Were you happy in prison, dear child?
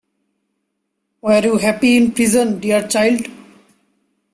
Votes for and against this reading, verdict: 2, 0, accepted